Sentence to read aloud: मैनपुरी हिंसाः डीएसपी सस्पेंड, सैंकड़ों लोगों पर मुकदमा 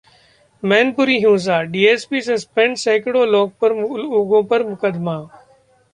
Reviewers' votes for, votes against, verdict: 1, 2, rejected